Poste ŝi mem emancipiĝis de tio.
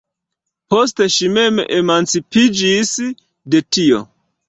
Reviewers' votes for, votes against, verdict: 2, 0, accepted